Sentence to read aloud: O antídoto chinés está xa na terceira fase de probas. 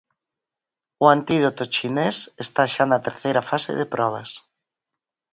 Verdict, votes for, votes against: accepted, 4, 0